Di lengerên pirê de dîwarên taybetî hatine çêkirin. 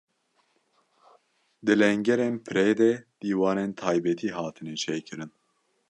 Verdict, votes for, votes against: accepted, 2, 0